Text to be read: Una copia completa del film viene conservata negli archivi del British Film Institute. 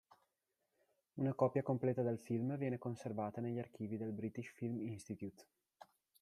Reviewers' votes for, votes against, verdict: 2, 1, accepted